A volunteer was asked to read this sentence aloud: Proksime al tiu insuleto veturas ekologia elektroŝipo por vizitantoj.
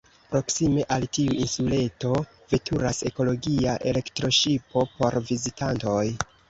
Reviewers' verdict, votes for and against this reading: rejected, 1, 2